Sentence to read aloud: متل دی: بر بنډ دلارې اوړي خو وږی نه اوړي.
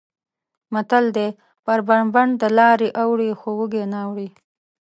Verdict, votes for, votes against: accepted, 2, 0